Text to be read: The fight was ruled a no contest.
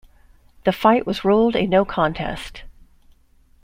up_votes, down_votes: 2, 0